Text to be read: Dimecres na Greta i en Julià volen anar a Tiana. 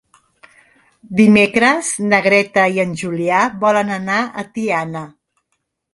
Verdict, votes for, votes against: accepted, 2, 0